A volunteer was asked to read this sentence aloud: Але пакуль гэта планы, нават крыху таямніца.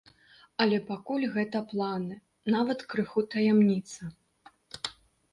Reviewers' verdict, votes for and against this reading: accepted, 2, 0